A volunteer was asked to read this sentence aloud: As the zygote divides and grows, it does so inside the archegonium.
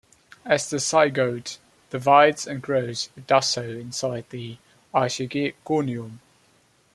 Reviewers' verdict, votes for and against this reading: rejected, 0, 2